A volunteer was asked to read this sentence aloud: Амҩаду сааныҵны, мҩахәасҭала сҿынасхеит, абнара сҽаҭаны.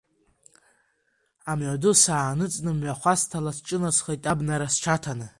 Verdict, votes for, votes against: accepted, 2, 0